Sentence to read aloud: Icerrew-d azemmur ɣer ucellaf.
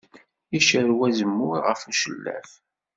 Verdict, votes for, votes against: rejected, 1, 2